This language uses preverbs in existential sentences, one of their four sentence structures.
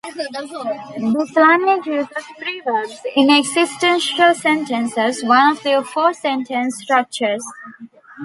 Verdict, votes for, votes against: rejected, 0, 2